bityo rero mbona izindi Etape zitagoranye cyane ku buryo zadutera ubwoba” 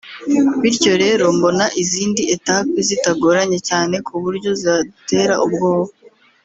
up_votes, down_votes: 1, 2